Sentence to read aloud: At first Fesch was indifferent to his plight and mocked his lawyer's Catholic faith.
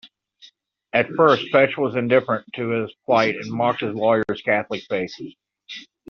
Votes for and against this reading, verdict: 2, 0, accepted